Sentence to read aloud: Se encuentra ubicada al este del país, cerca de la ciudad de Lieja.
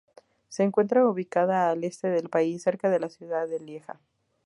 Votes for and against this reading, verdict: 2, 0, accepted